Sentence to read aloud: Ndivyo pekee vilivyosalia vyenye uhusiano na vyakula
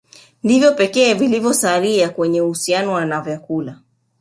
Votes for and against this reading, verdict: 0, 2, rejected